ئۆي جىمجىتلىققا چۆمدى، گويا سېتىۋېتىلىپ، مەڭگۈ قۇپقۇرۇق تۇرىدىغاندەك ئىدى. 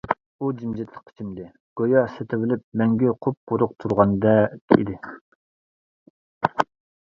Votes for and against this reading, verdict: 0, 2, rejected